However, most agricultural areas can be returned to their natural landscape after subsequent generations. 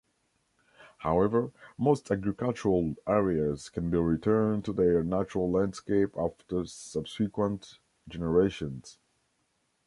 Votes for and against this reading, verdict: 2, 0, accepted